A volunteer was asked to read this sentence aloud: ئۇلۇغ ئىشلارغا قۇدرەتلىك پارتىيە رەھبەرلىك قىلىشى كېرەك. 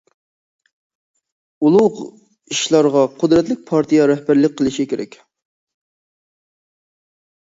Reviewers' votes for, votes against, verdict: 2, 0, accepted